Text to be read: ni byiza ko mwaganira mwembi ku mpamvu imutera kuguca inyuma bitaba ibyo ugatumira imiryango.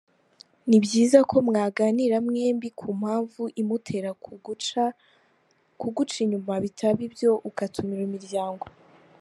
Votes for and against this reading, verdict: 0, 2, rejected